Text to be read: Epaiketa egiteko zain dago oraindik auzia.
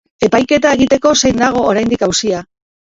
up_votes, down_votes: 2, 0